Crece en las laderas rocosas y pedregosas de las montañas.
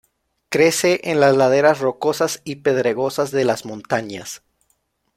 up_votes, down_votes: 2, 0